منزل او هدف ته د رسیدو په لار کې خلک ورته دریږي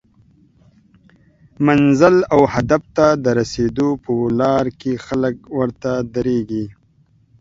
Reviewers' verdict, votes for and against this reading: accepted, 2, 0